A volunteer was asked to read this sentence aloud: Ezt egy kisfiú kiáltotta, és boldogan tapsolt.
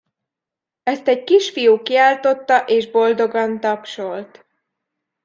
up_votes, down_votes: 2, 0